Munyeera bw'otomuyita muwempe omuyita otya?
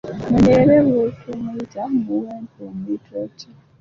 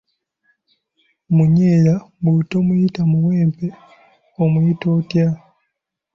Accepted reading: second